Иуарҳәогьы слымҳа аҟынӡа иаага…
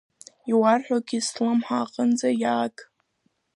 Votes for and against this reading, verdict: 1, 2, rejected